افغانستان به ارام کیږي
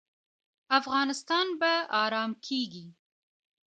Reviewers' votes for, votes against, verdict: 1, 2, rejected